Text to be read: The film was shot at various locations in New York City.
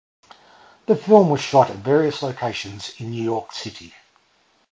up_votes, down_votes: 0, 2